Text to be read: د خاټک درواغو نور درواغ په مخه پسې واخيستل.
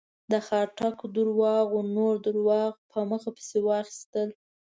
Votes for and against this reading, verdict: 2, 0, accepted